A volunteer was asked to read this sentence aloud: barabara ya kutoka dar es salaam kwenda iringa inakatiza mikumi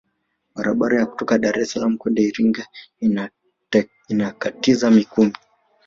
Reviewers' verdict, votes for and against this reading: rejected, 0, 2